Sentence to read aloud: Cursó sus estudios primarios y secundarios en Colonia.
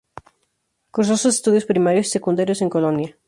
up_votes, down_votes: 0, 2